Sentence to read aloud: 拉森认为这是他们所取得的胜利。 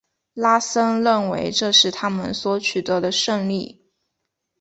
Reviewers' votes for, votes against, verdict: 2, 0, accepted